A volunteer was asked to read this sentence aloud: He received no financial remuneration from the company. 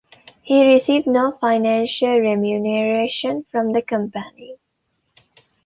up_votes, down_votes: 1, 2